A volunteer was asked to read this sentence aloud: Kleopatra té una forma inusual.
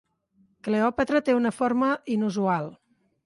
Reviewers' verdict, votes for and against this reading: accepted, 2, 1